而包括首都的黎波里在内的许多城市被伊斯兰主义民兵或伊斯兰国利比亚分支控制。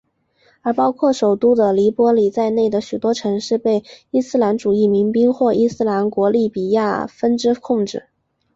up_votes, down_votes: 2, 1